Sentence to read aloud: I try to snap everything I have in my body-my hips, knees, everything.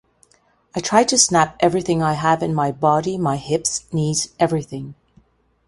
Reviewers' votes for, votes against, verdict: 2, 0, accepted